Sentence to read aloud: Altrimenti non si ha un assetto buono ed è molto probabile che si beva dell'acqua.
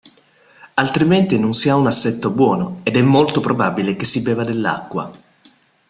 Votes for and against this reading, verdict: 2, 0, accepted